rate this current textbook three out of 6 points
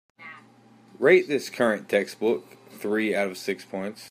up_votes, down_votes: 0, 2